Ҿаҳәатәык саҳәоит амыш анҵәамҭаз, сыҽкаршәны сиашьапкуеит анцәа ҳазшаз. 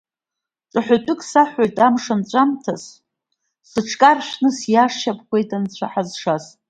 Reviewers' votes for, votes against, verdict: 1, 2, rejected